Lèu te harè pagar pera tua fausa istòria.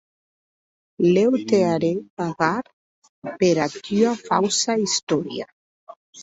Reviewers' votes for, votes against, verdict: 2, 2, rejected